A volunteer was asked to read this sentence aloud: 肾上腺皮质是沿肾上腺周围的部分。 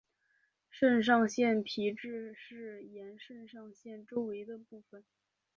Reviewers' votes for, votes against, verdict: 3, 1, accepted